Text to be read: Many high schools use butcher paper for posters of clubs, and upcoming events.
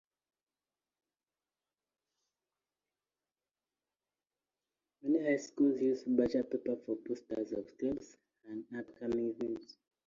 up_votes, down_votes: 0, 2